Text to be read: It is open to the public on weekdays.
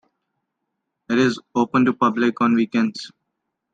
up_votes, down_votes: 1, 2